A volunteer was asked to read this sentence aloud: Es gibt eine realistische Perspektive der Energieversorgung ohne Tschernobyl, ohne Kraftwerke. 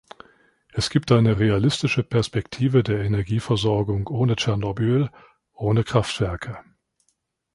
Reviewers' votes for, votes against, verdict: 2, 0, accepted